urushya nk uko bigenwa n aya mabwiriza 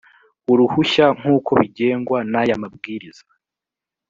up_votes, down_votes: 1, 2